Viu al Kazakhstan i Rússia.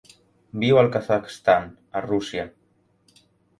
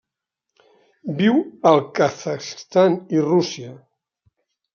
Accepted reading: second